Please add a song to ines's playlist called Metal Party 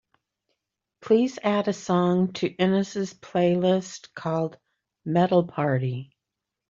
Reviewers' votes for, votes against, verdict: 2, 0, accepted